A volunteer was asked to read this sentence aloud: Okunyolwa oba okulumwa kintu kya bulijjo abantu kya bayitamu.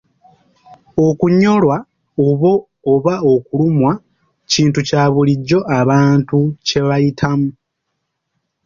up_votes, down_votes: 2, 0